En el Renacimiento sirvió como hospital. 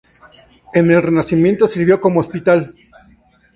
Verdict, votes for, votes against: accepted, 2, 0